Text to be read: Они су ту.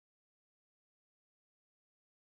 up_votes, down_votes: 0, 2